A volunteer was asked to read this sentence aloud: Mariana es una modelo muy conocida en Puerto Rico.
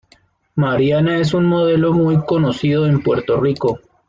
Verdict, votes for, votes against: rejected, 0, 2